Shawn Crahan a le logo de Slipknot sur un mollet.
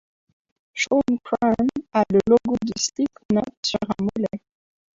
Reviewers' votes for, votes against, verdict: 1, 2, rejected